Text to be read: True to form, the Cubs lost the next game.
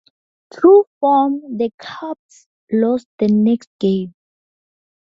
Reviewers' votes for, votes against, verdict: 0, 4, rejected